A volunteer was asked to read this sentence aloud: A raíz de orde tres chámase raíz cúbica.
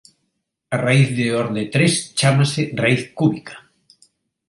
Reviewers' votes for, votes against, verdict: 2, 0, accepted